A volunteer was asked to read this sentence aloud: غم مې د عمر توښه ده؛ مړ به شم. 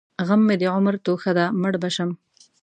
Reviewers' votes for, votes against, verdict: 3, 0, accepted